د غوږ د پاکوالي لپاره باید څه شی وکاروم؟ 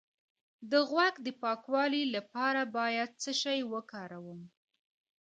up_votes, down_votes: 1, 2